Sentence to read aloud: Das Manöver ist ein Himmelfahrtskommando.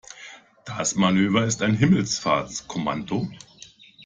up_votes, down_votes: 1, 2